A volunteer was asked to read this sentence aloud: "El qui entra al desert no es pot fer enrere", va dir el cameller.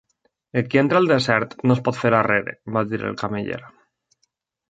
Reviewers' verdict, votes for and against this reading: rejected, 1, 2